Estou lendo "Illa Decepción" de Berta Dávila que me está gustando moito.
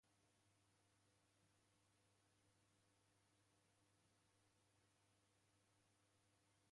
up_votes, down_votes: 0, 2